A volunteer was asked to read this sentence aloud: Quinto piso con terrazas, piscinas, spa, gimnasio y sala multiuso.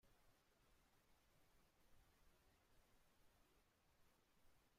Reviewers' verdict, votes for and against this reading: rejected, 0, 2